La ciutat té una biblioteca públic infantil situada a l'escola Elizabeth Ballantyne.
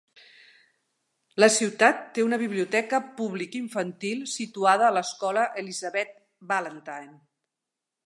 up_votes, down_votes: 2, 0